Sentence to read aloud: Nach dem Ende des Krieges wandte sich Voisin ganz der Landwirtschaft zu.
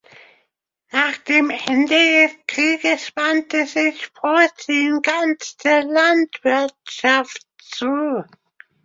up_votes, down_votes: 2, 1